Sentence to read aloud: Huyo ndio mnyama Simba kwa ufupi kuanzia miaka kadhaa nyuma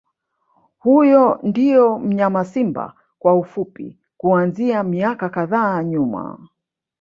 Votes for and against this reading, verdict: 1, 2, rejected